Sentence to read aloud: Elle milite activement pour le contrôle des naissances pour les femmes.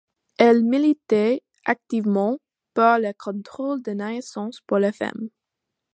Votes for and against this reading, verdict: 0, 2, rejected